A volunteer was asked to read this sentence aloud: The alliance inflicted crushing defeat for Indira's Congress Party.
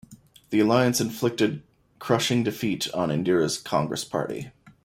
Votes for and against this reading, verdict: 2, 0, accepted